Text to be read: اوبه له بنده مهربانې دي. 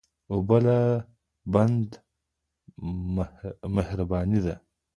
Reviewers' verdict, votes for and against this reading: rejected, 0, 2